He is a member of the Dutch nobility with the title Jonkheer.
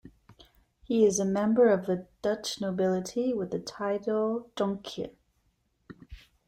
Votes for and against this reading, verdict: 1, 2, rejected